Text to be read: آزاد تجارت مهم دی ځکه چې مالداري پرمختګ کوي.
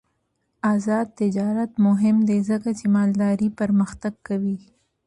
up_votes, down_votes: 2, 0